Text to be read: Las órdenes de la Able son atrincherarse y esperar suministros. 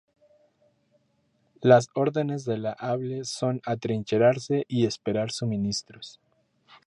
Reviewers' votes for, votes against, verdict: 2, 0, accepted